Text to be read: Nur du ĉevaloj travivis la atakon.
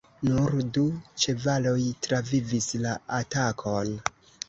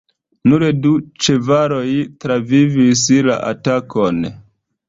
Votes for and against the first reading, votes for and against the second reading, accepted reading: 0, 2, 2, 0, second